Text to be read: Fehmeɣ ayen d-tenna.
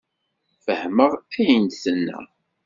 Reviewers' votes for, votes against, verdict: 2, 0, accepted